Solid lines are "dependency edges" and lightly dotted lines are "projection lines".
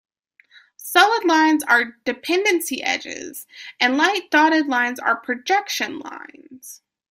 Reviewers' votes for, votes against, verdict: 2, 1, accepted